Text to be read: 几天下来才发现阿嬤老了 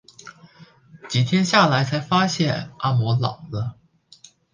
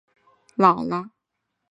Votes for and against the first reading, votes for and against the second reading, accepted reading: 2, 1, 1, 4, first